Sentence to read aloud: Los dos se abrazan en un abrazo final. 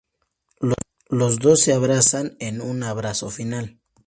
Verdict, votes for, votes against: rejected, 0, 2